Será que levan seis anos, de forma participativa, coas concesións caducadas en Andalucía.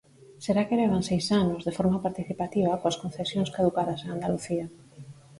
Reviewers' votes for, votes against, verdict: 4, 0, accepted